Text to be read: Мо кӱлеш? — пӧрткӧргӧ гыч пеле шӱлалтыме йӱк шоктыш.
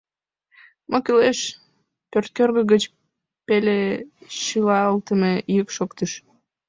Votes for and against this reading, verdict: 1, 3, rejected